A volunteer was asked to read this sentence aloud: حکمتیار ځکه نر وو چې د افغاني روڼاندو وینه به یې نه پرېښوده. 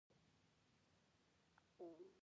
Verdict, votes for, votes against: rejected, 1, 2